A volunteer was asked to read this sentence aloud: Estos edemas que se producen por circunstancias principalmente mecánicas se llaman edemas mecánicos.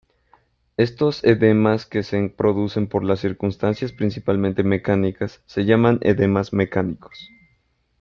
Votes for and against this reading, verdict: 0, 2, rejected